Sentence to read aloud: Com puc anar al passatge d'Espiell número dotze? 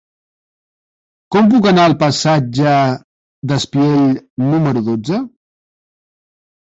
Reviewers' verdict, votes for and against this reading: accepted, 3, 1